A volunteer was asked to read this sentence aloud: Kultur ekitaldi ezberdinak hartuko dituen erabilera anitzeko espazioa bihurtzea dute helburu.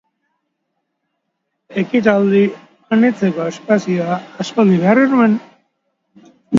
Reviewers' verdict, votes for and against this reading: rejected, 1, 2